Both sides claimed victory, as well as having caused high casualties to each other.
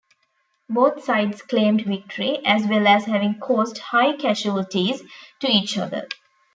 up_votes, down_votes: 2, 0